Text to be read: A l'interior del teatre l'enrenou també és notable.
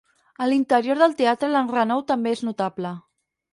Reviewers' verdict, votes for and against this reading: accepted, 6, 0